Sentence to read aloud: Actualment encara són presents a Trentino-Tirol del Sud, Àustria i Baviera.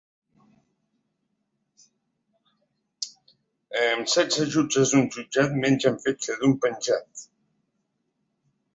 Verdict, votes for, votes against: rejected, 1, 2